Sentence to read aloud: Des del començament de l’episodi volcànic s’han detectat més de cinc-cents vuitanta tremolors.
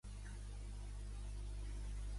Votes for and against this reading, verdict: 0, 2, rejected